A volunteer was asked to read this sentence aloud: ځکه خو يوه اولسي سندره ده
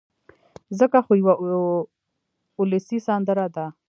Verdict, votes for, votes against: accepted, 2, 0